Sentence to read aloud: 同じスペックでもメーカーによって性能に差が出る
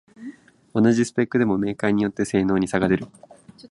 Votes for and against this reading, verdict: 4, 0, accepted